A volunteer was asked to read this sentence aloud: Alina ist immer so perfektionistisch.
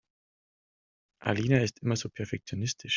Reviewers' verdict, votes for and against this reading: accepted, 2, 1